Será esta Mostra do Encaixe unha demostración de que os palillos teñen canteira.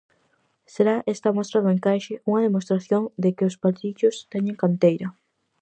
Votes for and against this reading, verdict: 2, 2, rejected